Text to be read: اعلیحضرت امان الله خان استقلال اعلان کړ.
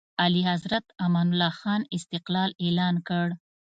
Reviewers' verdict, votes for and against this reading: rejected, 1, 2